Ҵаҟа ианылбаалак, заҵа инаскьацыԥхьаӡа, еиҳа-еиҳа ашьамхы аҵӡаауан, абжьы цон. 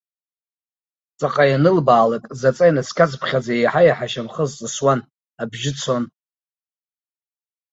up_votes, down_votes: 1, 2